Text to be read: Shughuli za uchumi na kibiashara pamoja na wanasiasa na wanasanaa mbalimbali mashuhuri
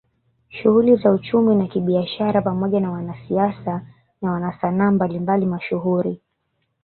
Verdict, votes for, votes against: accepted, 2, 0